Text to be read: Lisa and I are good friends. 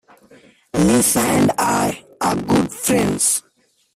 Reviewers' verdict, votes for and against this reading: rejected, 0, 2